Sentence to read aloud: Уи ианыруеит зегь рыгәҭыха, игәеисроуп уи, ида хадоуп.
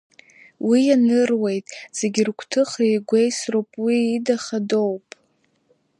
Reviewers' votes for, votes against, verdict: 0, 2, rejected